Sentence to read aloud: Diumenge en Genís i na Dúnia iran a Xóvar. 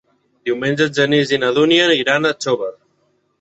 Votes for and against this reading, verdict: 4, 2, accepted